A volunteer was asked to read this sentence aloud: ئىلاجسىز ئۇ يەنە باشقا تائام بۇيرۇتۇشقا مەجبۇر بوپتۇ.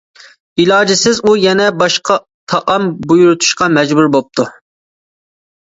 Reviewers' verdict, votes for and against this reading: accepted, 2, 0